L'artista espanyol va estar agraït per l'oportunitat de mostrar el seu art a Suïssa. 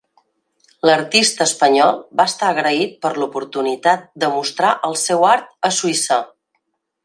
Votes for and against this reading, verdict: 3, 0, accepted